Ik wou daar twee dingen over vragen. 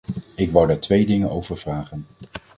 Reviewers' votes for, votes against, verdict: 2, 0, accepted